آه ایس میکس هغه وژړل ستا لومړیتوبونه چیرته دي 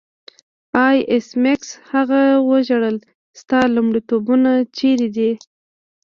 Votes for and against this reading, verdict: 1, 2, rejected